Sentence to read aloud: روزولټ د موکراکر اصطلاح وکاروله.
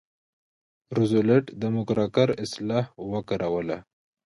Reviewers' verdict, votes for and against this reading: accepted, 2, 0